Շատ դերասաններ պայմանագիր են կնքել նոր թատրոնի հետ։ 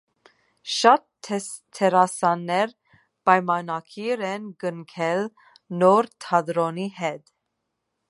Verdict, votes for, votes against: rejected, 0, 2